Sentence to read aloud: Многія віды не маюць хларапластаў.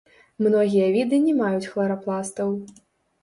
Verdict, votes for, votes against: rejected, 1, 2